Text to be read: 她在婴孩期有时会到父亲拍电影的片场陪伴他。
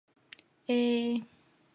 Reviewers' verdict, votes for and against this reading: rejected, 0, 3